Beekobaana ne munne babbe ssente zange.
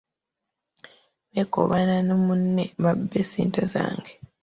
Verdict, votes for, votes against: accepted, 2, 0